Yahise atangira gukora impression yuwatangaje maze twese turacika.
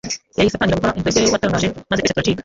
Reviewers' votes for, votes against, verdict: 0, 2, rejected